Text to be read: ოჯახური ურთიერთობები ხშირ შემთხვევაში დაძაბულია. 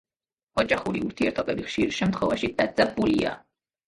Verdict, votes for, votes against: rejected, 1, 2